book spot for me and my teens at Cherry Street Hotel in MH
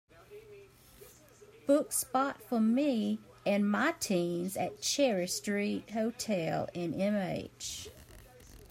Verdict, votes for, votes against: accepted, 2, 0